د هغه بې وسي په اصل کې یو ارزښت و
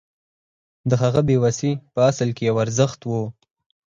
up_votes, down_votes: 4, 0